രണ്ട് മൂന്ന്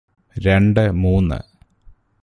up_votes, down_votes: 2, 0